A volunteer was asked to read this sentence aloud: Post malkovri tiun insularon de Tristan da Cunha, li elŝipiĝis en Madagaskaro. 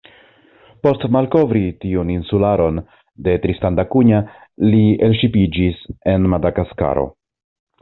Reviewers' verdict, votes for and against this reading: accepted, 2, 0